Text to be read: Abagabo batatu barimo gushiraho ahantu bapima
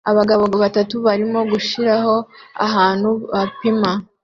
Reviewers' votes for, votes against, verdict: 2, 0, accepted